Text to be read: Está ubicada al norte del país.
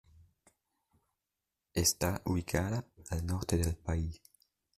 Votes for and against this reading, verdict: 2, 0, accepted